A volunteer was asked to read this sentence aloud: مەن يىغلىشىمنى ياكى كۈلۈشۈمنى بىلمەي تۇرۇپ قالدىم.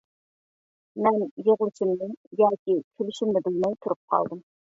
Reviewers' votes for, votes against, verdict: 0, 2, rejected